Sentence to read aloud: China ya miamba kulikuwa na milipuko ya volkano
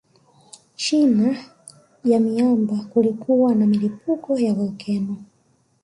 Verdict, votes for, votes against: accepted, 2, 1